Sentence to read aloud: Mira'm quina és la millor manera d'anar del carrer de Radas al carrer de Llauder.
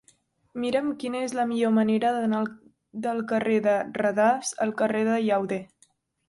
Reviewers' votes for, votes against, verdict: 0, 3, rejected